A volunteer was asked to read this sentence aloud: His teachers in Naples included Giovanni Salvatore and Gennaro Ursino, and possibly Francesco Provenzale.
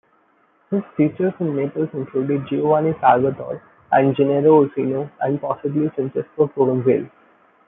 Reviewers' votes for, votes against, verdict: 0, 2, rejected